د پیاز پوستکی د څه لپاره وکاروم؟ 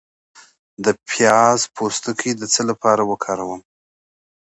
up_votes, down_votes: 2, 0